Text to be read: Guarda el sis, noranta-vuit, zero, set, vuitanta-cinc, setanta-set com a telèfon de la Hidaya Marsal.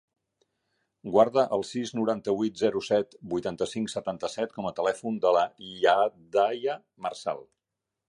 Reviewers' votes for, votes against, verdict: 2, 0, accepted